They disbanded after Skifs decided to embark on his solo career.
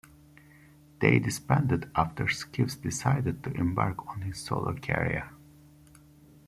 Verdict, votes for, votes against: rejected, 0, 2